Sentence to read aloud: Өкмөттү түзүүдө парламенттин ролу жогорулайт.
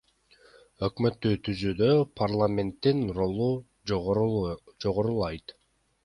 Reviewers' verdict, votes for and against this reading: accepted, 2, 1